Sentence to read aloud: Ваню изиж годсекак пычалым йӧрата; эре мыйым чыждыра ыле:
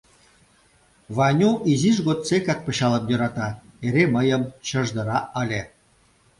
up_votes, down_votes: 2, 0